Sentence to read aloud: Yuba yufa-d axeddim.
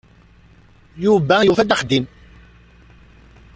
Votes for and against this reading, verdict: 1, 2, rejected